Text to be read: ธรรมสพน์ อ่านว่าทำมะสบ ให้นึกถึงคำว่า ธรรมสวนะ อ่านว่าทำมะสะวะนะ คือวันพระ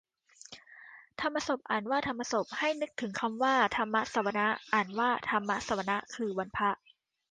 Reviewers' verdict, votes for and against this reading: accepted, 2, 0